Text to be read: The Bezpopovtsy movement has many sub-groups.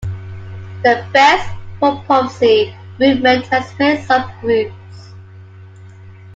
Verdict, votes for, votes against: rejected, 0, 2